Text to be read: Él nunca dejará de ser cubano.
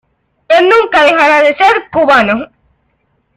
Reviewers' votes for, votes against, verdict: 2, 0, accepted